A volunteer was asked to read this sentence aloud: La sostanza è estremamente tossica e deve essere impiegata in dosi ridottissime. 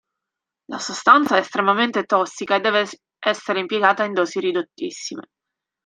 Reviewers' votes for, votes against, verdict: 0, 3, rejected